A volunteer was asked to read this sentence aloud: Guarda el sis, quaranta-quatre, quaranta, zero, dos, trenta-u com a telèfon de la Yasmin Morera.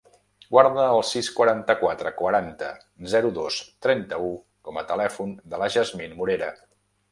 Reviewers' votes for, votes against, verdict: 1, 2, rejected